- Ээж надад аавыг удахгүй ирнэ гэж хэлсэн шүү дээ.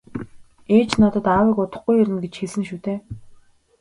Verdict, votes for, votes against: accepted, 2, 1